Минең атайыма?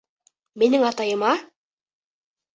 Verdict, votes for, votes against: accepted, 2, 0